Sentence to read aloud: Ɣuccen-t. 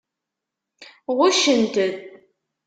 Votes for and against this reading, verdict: 1, 2, rejected